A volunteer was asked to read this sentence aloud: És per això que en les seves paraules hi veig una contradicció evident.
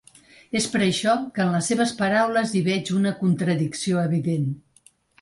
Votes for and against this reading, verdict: 3, 0, accepted